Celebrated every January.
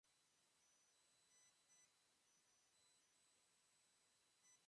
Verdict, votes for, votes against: rejected, 0, 2